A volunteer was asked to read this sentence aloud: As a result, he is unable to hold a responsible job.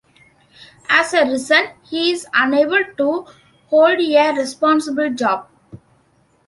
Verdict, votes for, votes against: rejected, 0, 2